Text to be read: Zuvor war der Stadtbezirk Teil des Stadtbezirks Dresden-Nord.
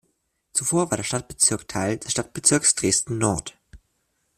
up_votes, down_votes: 1, 2